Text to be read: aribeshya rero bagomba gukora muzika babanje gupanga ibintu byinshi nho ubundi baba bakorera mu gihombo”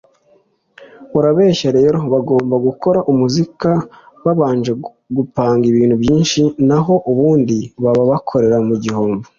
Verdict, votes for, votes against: accepted, 2, 1